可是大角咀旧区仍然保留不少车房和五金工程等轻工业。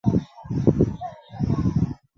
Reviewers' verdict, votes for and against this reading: rejected, 1, 4